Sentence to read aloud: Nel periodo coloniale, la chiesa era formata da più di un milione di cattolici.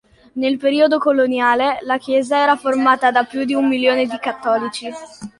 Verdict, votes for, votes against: accepted, 2, 0